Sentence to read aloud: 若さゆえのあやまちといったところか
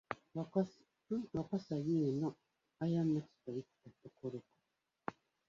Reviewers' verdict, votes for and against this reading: rejected, 0, 2